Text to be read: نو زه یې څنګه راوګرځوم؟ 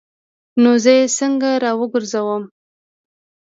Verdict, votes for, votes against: accepted, 2, 0